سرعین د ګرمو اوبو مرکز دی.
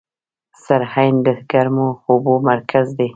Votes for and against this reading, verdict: 2, 1, accepted